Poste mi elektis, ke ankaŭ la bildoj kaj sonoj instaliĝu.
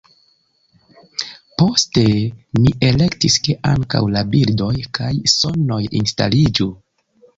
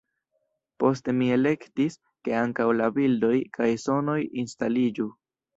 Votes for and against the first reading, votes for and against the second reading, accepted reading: 2, 0, 1, 2, first